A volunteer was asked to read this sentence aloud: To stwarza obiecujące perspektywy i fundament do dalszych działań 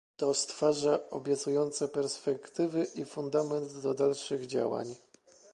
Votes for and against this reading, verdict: 2, 0, accepted